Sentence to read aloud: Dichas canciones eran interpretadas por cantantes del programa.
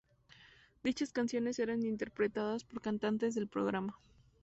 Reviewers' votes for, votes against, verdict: 2, 0, accepted